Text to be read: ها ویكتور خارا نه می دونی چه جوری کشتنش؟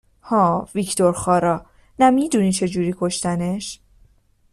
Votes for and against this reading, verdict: 2, 0, accepted